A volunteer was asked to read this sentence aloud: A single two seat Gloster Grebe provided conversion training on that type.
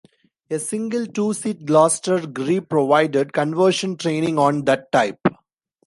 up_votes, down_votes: 1, 2